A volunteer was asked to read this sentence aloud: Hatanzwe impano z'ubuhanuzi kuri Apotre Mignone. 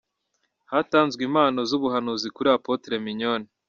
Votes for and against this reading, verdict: 1, 2, rejected